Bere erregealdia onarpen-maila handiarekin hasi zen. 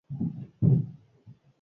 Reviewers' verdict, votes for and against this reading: rejected, 0, 4